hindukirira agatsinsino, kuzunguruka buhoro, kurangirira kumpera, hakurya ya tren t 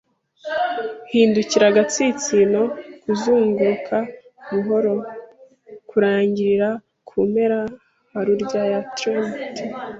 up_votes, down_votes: 1, 2